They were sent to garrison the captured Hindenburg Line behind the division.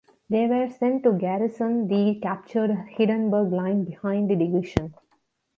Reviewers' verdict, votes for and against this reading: accepted, 2, 0